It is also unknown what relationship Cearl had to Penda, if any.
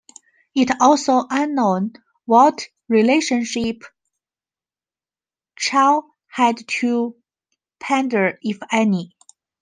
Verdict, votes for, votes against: rejected, 0, 3